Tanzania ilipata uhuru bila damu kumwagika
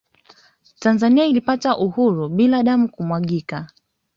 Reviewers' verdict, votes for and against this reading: accepted, 2, 0